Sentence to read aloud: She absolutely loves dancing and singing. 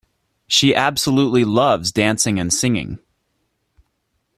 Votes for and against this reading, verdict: 2, 0, accepted